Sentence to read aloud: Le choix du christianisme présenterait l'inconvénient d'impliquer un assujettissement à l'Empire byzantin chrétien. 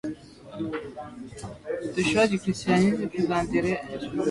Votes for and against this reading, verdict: 1, 2, rejected